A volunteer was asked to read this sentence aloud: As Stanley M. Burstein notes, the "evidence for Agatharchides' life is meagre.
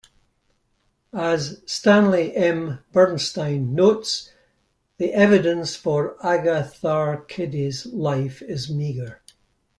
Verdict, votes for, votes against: rejected, 1, 2